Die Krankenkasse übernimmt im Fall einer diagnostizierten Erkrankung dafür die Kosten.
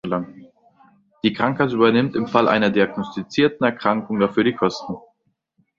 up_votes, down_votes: 2, 0